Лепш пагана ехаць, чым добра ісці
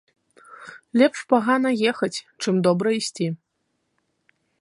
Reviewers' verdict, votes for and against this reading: accepted, 3, 0